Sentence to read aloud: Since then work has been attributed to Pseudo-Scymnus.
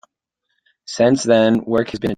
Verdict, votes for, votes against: rejected, 0, 2